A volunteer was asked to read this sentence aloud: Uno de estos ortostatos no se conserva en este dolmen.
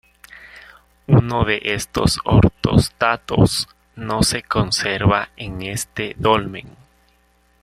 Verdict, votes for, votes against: rejected, 1, 2